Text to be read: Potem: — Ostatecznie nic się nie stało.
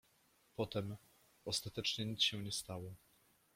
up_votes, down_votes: 1, 2